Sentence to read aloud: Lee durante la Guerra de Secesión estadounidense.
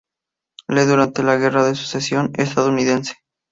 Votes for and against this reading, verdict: 2, 2, rejected